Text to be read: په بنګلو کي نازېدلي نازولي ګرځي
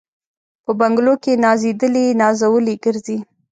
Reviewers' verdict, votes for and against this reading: accepted, 2, 0